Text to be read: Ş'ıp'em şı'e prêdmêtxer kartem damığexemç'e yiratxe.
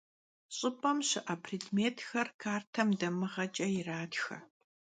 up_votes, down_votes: 0, 2